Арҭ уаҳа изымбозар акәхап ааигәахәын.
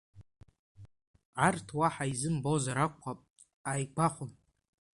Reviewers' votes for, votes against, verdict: 2, 1, accepted